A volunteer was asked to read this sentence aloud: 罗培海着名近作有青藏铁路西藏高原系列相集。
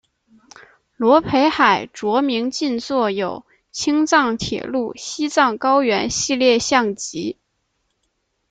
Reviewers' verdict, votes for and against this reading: rejected, 0, 2